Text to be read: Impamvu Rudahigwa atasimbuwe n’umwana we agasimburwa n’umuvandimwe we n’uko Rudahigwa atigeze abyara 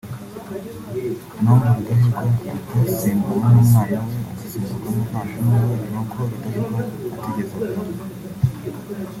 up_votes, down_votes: 1, 2